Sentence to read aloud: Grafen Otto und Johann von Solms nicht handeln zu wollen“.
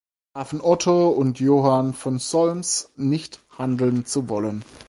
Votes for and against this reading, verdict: 0, 4, rejected